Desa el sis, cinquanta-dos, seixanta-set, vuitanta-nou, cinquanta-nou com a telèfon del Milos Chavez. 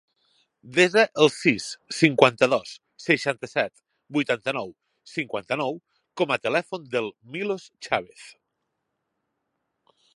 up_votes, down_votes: 2, 0